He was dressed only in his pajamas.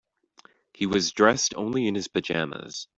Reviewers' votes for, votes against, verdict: 2, 0, accepted